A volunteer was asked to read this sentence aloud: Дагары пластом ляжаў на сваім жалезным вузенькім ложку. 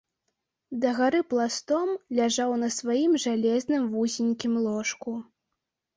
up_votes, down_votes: 2, 0